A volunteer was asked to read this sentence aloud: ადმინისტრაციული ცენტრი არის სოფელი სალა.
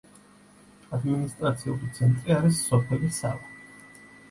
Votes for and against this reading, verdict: 2, 0, accepted